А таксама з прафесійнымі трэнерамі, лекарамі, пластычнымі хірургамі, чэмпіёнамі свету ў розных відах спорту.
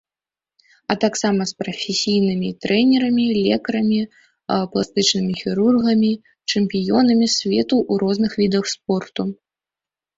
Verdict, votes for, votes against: accepted, 2, 1